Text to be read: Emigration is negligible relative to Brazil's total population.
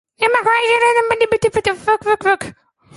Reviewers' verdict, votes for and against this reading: rejected, 0, 2